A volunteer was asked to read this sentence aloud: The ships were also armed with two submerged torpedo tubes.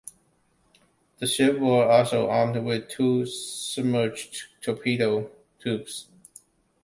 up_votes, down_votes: 2, 0